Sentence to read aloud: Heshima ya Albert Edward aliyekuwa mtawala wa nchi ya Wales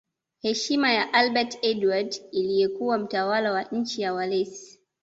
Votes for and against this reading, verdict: 0, 2, rejected